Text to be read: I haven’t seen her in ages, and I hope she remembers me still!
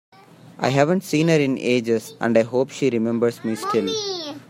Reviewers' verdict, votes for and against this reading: accepted, 2, 1